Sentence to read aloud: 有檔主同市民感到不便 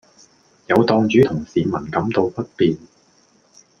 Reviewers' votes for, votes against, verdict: 2, 0, accepted